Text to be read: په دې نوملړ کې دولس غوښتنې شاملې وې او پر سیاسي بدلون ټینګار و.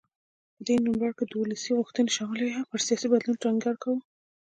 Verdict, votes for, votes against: accepted, 2, 1